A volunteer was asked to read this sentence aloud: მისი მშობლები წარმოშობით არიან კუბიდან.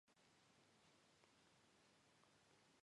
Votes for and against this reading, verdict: 1, 3, rejected